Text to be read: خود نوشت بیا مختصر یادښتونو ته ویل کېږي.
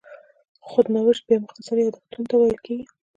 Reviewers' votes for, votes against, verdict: 2, 1, accepted